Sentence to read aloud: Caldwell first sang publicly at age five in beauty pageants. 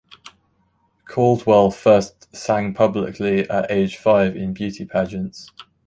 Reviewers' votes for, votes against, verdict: 2, 0, accepted